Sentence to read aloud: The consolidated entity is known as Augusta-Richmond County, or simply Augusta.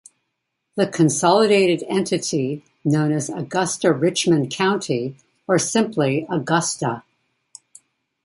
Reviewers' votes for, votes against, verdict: 1, 2, rejected